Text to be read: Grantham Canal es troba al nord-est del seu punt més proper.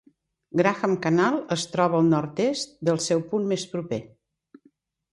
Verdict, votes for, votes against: rejected, 1, 2